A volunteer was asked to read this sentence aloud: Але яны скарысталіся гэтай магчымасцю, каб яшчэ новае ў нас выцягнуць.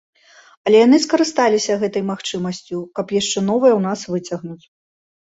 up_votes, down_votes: 2, 0